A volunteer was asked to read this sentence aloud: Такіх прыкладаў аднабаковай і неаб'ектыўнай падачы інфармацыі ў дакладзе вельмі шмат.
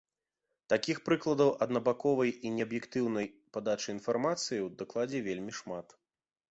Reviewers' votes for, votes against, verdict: 2, 0, accepted